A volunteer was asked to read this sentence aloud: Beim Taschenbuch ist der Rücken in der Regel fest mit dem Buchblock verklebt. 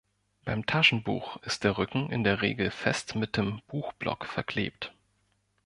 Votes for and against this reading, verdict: 2, 0, accepted